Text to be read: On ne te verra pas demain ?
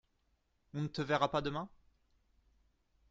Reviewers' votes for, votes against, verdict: 2, 0, accepted